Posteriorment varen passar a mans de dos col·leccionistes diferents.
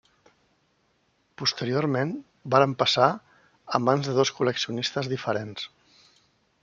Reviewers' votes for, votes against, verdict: 3, 0, accepted